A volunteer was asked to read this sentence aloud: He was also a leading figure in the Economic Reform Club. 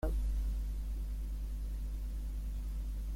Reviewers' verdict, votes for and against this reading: rejected, 0, 2